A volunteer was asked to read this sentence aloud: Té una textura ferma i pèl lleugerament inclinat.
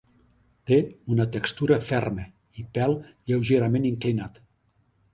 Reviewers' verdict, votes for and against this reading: accepted, 4, 0